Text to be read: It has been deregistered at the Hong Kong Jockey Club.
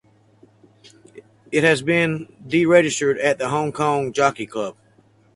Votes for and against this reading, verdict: 4, 0, accepted